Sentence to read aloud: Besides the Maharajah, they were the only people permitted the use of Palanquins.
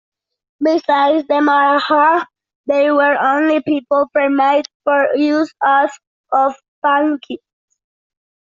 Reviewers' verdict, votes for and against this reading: rejected, 0, 2